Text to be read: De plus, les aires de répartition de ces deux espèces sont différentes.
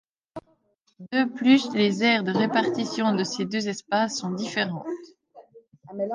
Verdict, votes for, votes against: rejected, 1, 2